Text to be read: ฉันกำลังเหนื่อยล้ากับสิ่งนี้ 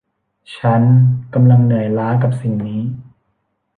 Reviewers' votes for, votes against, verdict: 1, 2, rejected